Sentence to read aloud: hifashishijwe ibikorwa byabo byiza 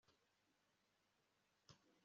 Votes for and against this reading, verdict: 2, 0, accepted